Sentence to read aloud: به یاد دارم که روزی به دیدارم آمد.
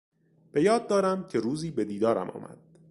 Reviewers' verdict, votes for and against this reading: accepted, 3, 0